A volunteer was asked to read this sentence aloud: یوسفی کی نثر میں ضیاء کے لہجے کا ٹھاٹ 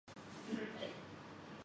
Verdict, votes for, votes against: rejected, 0, 2